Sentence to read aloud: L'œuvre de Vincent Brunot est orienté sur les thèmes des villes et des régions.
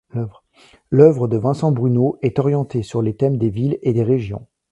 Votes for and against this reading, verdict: 1, 2, rejected